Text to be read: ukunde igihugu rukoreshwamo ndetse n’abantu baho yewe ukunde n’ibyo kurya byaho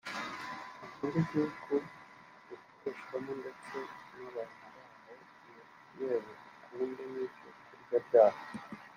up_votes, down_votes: 1, 2